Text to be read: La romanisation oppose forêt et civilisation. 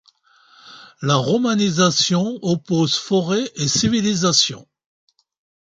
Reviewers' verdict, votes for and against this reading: accepted, 2, 0